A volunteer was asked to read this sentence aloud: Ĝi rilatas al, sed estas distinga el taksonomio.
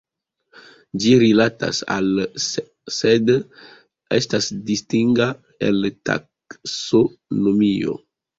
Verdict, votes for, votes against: accepted, 3, 1